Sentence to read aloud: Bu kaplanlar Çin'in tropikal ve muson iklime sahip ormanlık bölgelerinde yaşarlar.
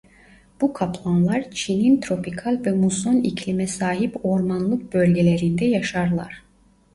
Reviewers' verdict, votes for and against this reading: accepted, 2, 1